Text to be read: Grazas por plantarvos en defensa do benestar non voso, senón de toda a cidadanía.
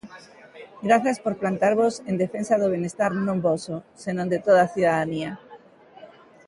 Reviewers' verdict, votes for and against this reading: accepted, 3, 1